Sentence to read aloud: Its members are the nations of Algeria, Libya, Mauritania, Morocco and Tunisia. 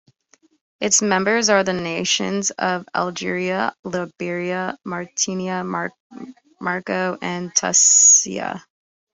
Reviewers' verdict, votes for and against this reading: rejected, 0, 2